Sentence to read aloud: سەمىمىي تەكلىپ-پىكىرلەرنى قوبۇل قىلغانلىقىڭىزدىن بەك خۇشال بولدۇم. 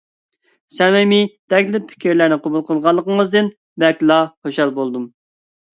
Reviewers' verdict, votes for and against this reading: rejected, 0, 2